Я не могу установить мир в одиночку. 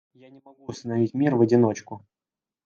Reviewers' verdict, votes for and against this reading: rejected, 1, 2